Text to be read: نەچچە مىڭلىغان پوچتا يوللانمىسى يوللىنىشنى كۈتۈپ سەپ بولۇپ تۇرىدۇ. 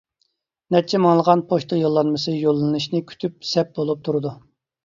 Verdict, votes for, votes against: accepted, 2, 0